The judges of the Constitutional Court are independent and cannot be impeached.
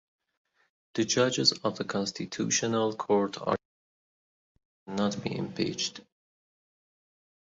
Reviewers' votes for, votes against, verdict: 0, 2, rejected